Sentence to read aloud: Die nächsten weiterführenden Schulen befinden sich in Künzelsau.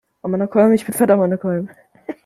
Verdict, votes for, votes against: rejected, 0, 2